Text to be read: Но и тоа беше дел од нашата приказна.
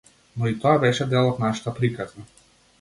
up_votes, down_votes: 0, 2